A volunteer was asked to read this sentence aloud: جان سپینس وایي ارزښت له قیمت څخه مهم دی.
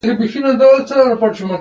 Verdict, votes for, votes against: accepted, 2, 0